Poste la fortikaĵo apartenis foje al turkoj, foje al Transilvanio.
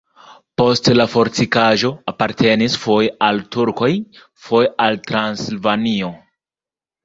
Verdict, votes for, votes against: rejected, 1, 2